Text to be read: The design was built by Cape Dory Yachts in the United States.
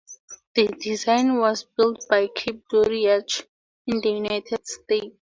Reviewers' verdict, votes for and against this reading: rejected, 2, 2